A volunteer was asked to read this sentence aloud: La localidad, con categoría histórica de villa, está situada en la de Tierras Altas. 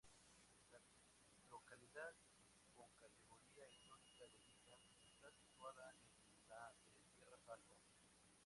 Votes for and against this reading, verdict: 0, 2, rejected